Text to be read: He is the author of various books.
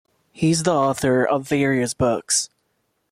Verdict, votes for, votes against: rejected, 1, 2